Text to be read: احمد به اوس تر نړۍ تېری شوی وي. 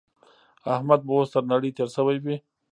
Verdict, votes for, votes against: accepted, 2, 0